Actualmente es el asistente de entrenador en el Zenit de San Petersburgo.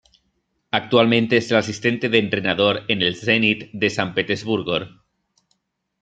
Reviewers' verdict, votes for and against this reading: rejected, 1, 2